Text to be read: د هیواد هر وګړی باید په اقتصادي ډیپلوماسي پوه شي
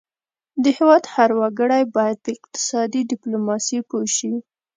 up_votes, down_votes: 2, 0